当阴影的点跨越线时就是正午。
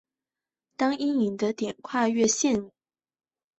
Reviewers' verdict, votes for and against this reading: rejected, 0, 2